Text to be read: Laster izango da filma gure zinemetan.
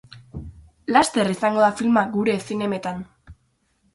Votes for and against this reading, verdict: 4, 0, accepted